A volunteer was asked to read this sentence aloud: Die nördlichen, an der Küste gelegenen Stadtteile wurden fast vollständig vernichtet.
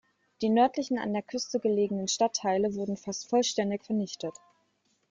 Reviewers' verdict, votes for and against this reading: accepted, 2, 0